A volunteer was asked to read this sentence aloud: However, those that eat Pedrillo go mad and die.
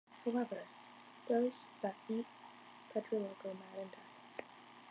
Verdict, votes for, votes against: accepted, 2, 0